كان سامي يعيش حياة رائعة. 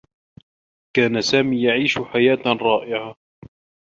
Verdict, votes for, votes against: accepted, 2, 0